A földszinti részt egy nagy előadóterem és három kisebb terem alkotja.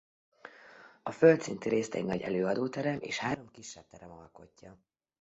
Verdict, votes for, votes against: accepted, 2, 0